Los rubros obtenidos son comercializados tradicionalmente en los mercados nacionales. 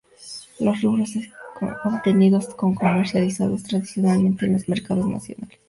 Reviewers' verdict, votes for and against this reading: rejected, 0, 2